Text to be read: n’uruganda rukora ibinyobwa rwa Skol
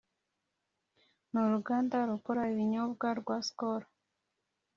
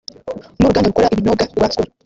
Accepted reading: first